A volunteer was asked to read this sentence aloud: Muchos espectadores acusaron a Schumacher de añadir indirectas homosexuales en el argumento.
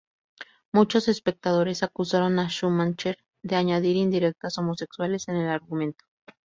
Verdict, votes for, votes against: rejected, 0, 2